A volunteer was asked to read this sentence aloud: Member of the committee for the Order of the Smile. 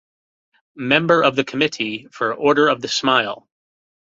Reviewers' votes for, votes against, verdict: 1, 2, rejected